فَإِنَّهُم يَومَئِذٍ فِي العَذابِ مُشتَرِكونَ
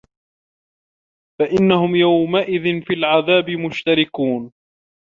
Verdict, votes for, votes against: accepted, 2, 0